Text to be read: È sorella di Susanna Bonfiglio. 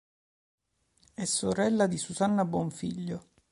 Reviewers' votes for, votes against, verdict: 2, 0, accepted